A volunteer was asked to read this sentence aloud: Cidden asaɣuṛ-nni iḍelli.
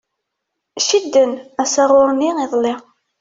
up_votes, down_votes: 2, 1